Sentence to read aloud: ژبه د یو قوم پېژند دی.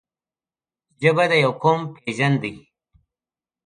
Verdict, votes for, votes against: accepted, 3, 0